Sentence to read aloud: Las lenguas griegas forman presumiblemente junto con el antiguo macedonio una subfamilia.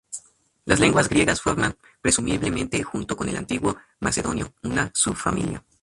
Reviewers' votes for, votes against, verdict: 0, 2, rejected